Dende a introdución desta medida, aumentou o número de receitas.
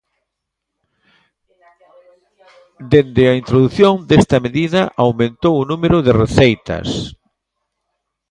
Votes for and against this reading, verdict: 1, 2, rejected